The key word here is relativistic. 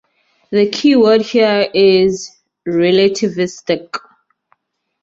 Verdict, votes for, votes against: rejected, 2, 2